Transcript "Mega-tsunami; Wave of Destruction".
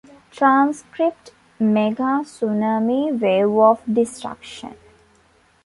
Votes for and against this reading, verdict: 1, 2, rejected